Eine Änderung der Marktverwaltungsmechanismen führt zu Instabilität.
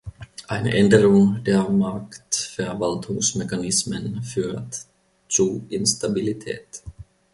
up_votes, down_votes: 2, 1